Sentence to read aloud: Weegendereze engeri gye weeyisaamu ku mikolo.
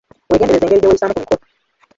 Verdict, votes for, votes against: rejected, 0, 2